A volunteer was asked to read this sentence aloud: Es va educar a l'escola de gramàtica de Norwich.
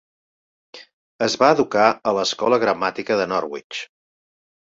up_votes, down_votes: 1, 2